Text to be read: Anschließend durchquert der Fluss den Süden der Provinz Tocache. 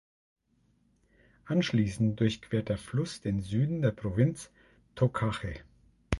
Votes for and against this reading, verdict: 2, 0, accepted